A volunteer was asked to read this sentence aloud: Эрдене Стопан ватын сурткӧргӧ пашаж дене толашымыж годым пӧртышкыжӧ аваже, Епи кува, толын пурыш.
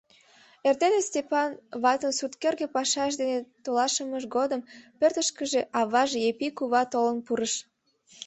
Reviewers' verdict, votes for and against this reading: accepted, 2, 0